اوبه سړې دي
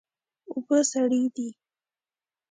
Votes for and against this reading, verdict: 2, 0, accepted